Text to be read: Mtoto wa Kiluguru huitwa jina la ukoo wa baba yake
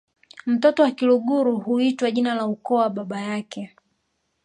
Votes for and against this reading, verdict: 1, 2, rejected